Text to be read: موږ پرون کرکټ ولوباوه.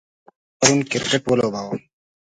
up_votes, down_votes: 1, 2